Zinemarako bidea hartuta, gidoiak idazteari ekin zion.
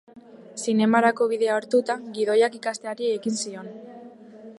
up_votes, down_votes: 1, 2